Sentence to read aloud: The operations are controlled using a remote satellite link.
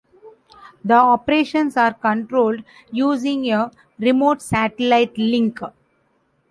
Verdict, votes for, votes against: rejected, 0, 2